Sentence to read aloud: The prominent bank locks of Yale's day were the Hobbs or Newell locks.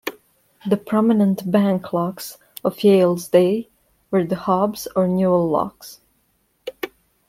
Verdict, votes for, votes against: accepted, 2, 0